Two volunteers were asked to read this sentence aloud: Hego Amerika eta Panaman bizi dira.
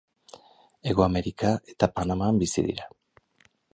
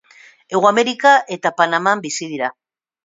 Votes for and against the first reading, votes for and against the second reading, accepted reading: 2, 2, 4, 0, second